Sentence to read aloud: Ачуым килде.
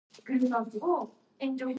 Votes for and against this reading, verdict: 0, 2, rejected